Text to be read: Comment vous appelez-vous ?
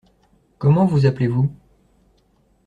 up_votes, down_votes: 2, 0